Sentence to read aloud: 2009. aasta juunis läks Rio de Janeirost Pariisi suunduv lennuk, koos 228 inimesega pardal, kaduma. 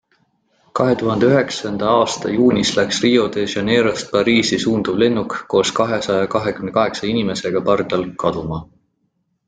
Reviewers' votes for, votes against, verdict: 0, 2, rejected